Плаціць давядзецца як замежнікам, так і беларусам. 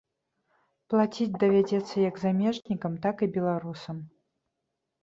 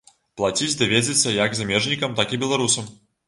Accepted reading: first